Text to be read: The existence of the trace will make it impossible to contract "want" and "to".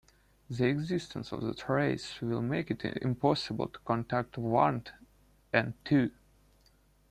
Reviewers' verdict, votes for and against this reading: rejected, 0, 2